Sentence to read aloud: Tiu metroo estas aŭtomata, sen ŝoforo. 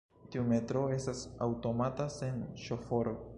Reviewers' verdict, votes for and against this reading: accepted, 2, 1